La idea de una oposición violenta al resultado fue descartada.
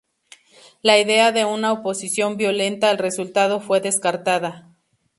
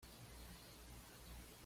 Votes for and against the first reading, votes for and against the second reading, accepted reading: 2, 0, 1, 3, first